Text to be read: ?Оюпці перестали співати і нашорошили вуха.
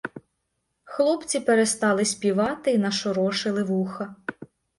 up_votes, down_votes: 0, 2